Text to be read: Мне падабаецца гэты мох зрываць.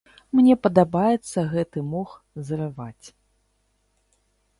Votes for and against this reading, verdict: 3, 0, accepted